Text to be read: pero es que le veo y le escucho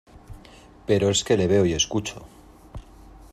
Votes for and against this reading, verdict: 0, 2, rejected